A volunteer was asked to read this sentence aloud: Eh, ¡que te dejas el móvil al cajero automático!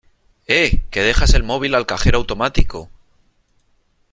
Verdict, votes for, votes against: rejected, 1, 2